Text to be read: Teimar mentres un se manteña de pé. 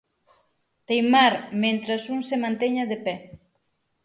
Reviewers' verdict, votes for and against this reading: accepted, 6, 0